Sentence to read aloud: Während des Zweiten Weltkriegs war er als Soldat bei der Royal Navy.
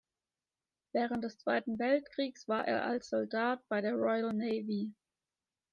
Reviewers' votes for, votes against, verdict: 2, 0, accepted